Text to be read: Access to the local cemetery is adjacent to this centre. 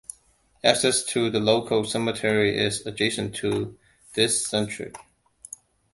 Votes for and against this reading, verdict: 2, 0, accepted